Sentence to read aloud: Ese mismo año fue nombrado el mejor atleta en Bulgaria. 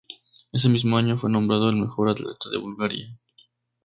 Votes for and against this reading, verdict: 0, 2, rejected